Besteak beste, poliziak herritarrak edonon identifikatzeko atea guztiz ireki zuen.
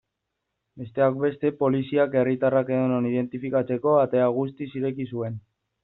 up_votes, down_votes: 2, 0